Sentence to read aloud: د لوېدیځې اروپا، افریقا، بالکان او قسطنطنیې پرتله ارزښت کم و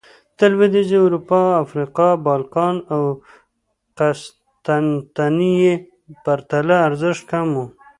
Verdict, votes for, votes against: rejected, 1, 2